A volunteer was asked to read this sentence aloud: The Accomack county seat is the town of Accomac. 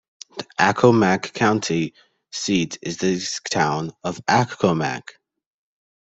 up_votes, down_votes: 0, 2